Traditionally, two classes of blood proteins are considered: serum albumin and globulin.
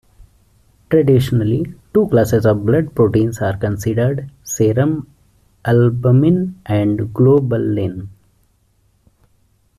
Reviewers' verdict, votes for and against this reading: accepted, 2, 0